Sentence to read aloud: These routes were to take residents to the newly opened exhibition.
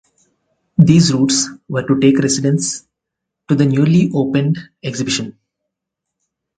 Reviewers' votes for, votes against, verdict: 4, 0, accepted